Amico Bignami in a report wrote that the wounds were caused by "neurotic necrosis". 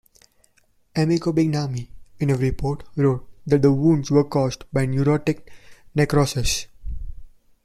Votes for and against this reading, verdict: 1, 2, rejected